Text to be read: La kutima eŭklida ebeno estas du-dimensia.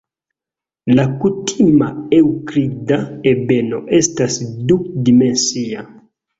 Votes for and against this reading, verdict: 0, 2, rejected